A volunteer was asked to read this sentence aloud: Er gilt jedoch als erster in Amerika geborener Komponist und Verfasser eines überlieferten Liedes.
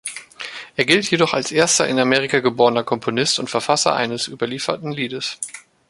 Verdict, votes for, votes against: accepted, 2, 0